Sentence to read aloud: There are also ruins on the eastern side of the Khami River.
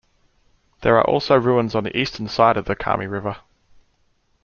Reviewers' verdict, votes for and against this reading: accepted, 2, 0